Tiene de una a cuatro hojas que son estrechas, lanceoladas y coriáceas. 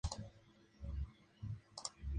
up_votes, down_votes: 0, 2